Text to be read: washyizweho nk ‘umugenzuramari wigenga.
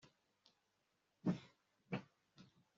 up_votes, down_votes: 0, 2